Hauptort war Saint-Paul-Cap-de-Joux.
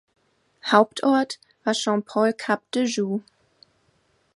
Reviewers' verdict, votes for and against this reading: accepted, 2, 1